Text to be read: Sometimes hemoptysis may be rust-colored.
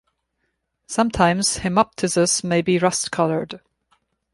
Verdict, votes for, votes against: accepted, 2, 0